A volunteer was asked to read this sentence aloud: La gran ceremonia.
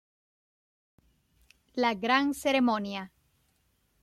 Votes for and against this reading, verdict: 2, 0, accepted